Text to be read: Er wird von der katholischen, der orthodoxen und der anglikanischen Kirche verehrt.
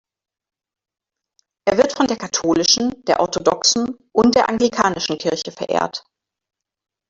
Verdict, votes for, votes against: accepted, 2, 0